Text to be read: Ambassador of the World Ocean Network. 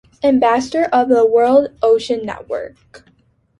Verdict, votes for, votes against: accepted, 2, 0